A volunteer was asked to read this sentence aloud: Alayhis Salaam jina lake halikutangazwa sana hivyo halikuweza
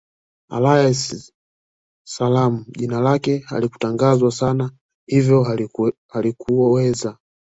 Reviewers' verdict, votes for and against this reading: rejected, 1, 2